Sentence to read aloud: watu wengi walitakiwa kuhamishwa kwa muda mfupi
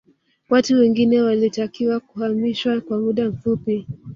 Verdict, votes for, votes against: rejected, 1, 2